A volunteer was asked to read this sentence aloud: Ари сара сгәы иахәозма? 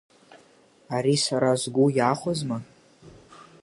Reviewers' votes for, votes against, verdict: 9, 0, accepted